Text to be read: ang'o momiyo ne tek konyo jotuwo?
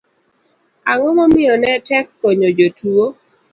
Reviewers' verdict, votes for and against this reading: accepted, 2, 0